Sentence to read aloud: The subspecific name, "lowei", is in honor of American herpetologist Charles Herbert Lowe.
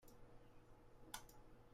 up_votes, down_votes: 0, 2